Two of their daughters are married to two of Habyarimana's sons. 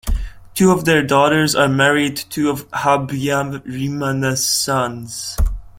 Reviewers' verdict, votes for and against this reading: rejected, 0, 2